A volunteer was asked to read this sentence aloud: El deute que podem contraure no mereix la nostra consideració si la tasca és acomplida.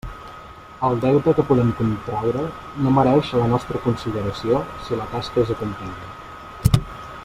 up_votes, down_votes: 2, 0